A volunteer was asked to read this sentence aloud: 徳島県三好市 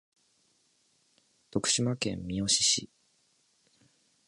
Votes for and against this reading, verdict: 2, 0, accepted